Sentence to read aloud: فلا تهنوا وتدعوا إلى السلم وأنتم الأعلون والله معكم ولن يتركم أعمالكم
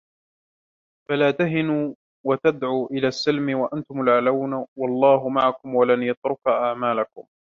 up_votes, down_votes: 0, 2